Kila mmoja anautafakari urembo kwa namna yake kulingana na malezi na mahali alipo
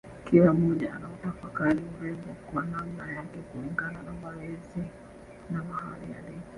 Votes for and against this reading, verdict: 1, 3, rejected